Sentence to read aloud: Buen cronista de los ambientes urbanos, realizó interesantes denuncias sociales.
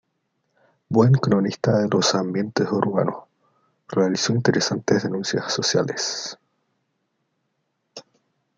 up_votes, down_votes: 2, 0